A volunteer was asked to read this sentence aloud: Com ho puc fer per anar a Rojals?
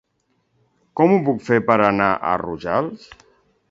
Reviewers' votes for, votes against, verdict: 2, 0, accepted